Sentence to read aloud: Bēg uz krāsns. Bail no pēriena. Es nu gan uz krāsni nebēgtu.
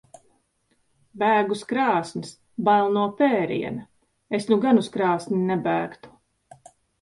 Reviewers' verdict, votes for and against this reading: accepted, 2, 0